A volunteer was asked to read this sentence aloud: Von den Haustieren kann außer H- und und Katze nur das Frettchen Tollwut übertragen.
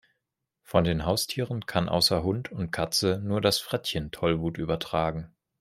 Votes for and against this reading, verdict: 1, 2, rejected